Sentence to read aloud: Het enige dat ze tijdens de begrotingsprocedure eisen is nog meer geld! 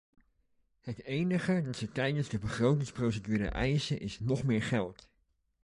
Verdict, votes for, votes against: accepted, 2, 0